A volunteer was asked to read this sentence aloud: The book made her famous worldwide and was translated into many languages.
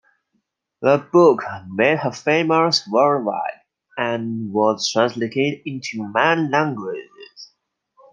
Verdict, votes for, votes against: rejected, 0, 2